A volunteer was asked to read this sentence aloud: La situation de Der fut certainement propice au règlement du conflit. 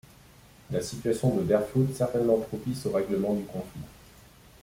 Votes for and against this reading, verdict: 1, 2, rejected